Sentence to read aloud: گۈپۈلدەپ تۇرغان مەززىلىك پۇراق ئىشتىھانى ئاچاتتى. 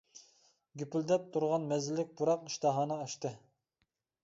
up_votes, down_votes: 1, 2